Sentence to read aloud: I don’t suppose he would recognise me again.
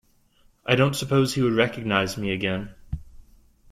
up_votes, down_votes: 2, 0